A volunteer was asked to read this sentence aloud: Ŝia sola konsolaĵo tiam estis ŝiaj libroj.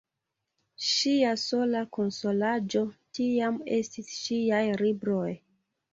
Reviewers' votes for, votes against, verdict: 2, 0, accepted